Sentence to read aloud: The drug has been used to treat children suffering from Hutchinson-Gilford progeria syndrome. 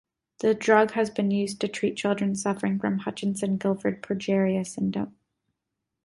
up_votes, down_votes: 2, 0